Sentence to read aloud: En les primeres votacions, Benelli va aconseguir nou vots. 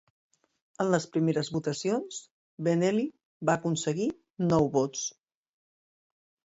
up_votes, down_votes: 2, 0